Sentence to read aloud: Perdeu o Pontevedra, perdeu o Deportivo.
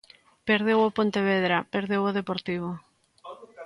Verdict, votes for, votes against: accepted, 2, 1